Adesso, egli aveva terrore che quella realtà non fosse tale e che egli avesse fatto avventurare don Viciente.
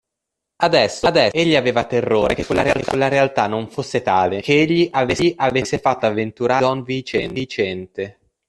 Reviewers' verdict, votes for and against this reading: rejected, 0, 2